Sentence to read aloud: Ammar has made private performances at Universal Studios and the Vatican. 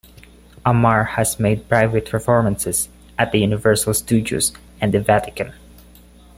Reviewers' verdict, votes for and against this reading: accepted, 2, 0